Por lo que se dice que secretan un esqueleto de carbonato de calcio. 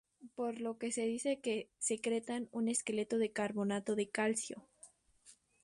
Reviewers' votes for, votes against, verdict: 4, 0, accepted